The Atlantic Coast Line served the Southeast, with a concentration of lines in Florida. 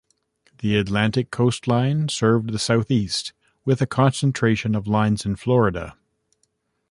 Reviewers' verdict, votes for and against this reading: accepted, 2, 0